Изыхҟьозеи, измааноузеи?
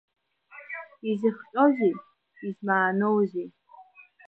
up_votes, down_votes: 1, 2